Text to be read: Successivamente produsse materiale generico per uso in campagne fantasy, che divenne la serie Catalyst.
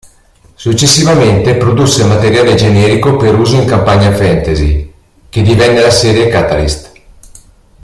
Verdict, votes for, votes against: rejected, 1, 2